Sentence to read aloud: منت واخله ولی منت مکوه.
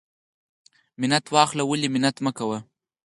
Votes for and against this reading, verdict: 4, 0, accepted